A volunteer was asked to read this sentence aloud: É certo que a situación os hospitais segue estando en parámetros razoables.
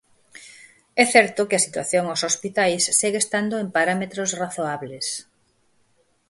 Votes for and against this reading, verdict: 4, 0, accepted